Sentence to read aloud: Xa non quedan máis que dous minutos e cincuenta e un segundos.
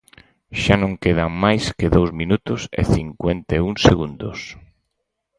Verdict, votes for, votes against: accepted, 4, 0